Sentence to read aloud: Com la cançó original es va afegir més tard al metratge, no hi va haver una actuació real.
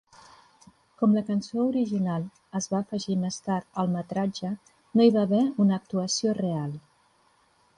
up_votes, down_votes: 3, 0